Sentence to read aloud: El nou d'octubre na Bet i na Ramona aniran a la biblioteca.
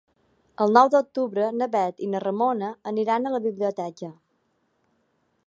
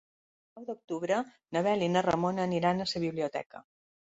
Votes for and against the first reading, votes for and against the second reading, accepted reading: 3, 0, 2, 3, first